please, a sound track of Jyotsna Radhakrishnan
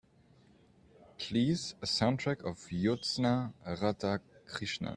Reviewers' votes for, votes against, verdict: 2, 1, accepted